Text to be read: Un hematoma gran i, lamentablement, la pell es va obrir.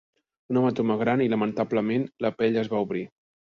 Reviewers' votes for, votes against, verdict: 2, 0, accepted